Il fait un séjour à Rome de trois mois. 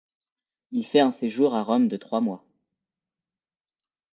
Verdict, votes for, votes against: accepted, 2, 0